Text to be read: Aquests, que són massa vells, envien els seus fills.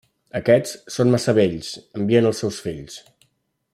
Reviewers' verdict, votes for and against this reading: accepted, 2, 1